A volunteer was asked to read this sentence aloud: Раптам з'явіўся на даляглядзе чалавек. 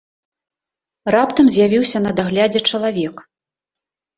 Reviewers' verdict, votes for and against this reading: rejected, 1, 2